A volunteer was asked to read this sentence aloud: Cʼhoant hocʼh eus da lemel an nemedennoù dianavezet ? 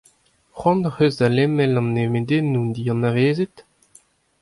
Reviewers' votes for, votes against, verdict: 2, 0, accepted